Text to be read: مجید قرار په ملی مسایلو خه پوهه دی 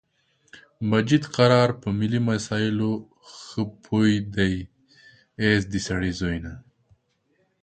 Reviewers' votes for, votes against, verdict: 0, 2, rejected